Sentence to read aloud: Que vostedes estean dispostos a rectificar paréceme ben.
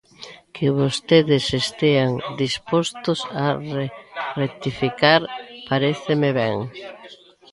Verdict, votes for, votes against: rejected, 0, 2